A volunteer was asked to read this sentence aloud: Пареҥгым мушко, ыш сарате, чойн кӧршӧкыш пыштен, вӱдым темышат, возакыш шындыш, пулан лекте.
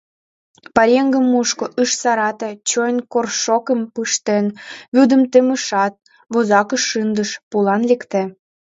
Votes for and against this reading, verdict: 1, 2, rejected